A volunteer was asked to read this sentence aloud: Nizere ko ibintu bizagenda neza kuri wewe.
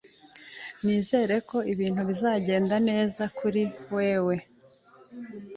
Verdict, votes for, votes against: accepted, 2, 0